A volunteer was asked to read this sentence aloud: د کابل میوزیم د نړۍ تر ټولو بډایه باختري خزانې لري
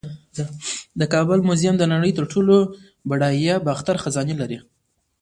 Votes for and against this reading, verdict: 1, 2, rejected